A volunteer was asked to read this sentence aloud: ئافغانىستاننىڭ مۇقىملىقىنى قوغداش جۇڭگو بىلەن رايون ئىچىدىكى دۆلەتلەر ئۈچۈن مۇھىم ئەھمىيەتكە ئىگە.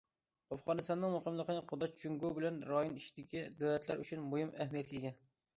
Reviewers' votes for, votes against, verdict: 0, 2, rejected